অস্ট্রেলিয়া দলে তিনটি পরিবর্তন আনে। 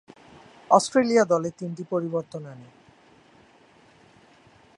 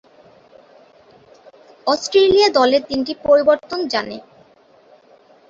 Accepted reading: first